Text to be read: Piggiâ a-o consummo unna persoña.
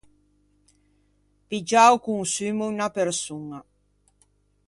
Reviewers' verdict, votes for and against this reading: accepted, 2, 0